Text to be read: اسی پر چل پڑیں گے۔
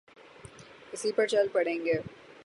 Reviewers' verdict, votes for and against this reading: accepted, 3, 0